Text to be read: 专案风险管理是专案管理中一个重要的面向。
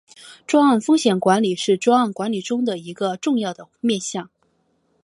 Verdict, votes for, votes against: accepted, 2, 0